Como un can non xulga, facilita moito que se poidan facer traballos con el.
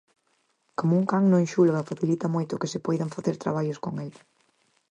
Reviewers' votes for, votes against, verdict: 4, 0, accepted